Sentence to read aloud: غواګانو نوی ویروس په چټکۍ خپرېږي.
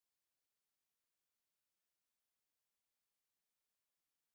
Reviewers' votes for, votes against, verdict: 2, 4, rejected